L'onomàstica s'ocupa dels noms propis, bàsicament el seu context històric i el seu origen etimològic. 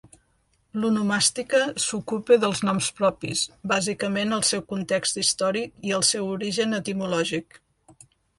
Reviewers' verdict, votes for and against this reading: accepted, 2, 0